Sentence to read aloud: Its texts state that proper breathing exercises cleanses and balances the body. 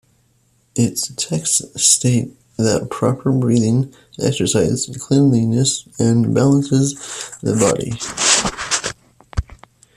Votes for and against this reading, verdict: 0, 2, rejected